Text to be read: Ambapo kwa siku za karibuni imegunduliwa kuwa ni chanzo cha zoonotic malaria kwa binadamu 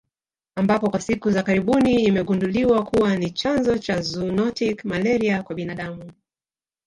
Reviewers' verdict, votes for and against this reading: rejected, 1, 2